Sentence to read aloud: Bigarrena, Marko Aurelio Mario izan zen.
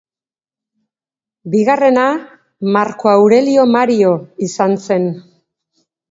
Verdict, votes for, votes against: accepted, 4, 1